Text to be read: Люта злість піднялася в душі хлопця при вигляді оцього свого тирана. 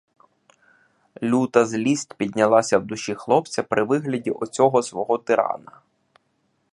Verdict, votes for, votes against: accepted, 2, 0